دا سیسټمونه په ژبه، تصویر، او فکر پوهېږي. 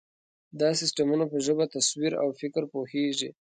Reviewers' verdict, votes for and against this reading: accepted, 2, 0